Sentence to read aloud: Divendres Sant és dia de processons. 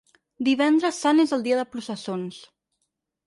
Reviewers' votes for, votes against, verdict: 0, 4, rejected